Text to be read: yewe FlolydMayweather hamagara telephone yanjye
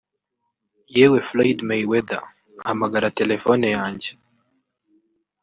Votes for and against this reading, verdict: 1, 2, rejected